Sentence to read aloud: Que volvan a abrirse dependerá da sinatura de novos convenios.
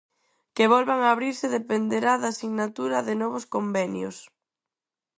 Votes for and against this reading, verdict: 4, 0, accepted